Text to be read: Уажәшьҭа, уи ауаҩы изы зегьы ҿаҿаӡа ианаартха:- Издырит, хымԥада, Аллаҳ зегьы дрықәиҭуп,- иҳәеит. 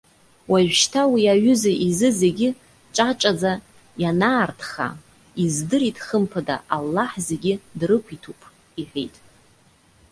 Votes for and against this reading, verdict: 0, 2, rejected